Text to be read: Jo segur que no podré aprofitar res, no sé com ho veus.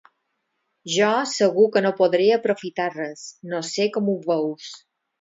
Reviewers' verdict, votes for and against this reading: rejected, 2, 4